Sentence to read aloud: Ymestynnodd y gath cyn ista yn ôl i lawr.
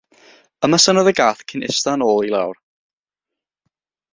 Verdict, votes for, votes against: accepted, 3, 0